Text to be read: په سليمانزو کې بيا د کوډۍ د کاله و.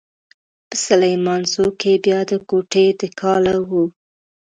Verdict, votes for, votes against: rejected, 1, 2